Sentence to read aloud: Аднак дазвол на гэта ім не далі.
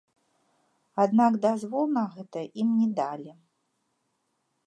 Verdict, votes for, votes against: accepted, 2, 0